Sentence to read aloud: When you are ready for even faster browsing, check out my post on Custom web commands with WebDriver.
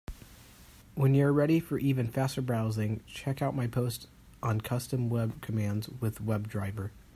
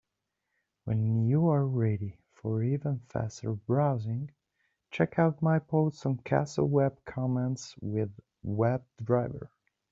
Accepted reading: first